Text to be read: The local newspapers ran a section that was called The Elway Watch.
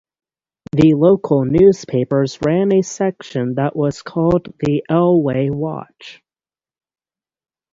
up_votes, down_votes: 3, 0